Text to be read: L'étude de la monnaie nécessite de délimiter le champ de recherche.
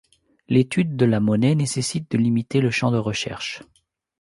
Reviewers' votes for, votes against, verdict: 0, 2, rejected